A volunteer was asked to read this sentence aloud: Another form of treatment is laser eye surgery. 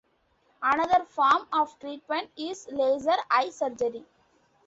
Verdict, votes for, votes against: accepted, 2, 0